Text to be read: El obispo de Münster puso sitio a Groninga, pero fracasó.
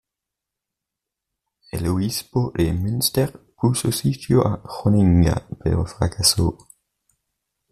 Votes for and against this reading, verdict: 1, 2, rejected